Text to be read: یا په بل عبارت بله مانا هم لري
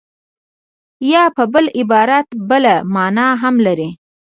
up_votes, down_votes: 0, 2